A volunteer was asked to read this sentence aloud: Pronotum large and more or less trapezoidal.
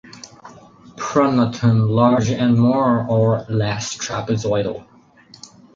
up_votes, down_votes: 4, 0